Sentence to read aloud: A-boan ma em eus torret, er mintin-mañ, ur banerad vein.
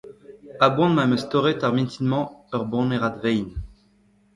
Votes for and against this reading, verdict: 1, 2, rejected